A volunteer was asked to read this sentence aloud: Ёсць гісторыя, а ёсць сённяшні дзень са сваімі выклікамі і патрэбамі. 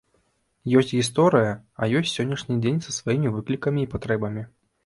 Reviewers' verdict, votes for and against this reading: accepted, 3, 0